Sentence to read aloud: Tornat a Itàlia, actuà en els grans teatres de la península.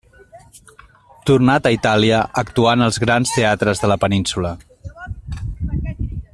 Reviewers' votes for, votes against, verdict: 2, 0, accepted